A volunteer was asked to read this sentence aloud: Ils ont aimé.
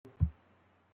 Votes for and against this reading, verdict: 0, 2, rejected